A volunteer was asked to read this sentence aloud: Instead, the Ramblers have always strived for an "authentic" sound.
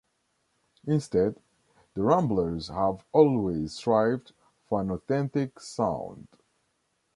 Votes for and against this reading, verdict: 2, 0, accepted